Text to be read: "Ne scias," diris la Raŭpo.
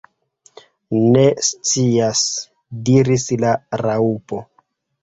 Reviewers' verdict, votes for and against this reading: rejected, 1, 2